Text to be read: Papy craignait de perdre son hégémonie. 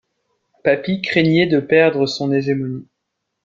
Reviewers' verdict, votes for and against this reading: rejected, 1, 2